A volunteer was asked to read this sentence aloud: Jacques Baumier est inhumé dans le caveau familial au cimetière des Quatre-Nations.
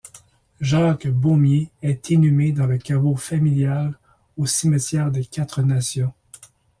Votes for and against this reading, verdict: 2, 0, accepted